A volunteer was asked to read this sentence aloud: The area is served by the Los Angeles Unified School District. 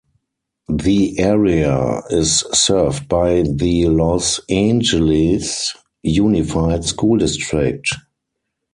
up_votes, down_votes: 2, 4